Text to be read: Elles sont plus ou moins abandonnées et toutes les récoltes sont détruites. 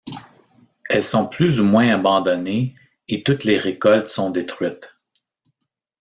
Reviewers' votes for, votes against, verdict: 1, 2, rejected